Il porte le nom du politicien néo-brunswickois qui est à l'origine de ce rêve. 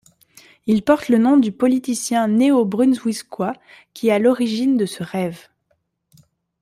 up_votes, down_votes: 2, 1